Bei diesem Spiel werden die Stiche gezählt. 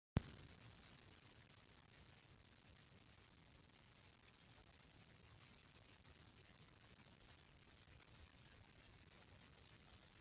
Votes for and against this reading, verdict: 0, 3, rejected